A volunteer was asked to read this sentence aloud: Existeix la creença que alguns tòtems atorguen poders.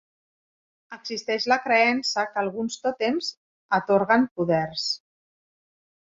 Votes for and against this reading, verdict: 2, 0, accepted